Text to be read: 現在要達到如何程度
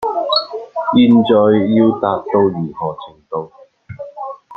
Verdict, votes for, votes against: rejected, 0, 2